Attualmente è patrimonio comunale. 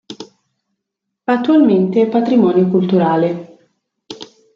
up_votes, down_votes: 0, 2